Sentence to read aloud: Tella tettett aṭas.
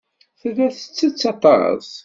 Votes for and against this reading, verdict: 2, 0, accepted